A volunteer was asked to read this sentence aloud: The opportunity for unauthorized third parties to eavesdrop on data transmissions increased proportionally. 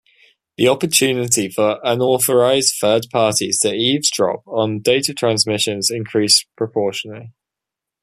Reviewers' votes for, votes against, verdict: 2, 1, accepted